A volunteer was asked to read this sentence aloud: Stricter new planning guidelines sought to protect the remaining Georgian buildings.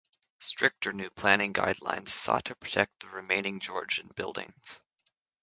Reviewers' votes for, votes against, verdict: 3, 0, accepted